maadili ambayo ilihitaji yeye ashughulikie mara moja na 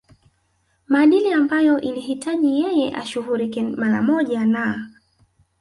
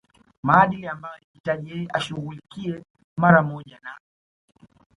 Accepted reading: second